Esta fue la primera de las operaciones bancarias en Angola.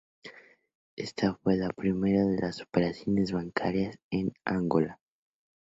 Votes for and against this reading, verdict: 2, 0, accepted